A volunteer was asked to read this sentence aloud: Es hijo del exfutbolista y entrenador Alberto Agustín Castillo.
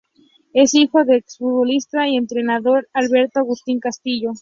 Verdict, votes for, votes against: accepted, 2, 0